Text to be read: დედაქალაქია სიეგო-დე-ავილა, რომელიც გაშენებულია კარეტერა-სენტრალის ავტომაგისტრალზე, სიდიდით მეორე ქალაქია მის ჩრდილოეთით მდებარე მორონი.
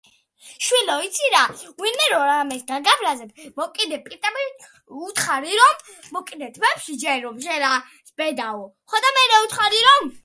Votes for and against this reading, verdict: 0, 2, rejected